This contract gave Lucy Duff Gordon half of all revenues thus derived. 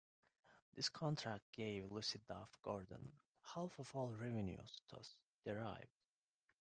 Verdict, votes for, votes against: accepted, 2, 1